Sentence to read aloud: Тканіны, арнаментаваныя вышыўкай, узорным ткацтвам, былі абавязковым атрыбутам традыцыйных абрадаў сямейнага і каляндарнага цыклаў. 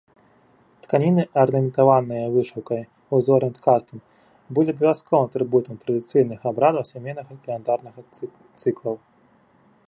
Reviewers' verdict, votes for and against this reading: rejected, 0, 2